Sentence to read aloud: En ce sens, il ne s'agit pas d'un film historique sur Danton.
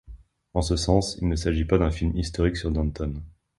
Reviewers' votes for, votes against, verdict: 1, 2, rejected